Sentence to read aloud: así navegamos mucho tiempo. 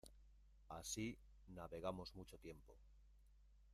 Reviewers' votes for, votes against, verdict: 0, 2, rejected